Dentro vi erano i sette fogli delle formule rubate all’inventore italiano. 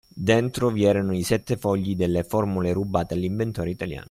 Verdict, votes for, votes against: accepted, 2, 0